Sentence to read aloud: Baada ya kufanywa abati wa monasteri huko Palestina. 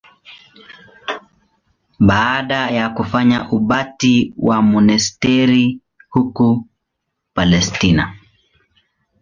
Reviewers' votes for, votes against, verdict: 1, 2, rejected